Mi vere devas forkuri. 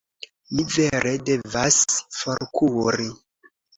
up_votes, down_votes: 2, 0